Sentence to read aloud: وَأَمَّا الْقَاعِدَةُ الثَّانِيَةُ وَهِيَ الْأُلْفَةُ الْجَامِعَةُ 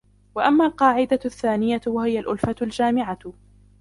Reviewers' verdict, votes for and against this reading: accepted, 2, 1